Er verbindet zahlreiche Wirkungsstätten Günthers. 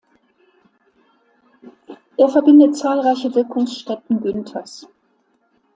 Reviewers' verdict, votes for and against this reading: accepted, 2, 1